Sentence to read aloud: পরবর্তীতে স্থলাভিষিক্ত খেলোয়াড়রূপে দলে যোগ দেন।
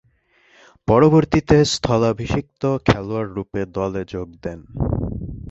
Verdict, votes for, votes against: accepted, 2, 0